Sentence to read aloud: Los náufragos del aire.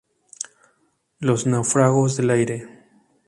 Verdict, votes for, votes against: rejected, 0, 2